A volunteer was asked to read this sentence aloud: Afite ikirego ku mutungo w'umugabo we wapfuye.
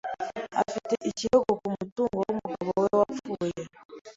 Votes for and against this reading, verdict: 2, 0, accepted